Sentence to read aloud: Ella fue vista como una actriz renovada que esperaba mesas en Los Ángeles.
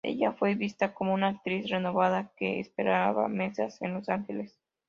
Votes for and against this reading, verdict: 2, 0, accepted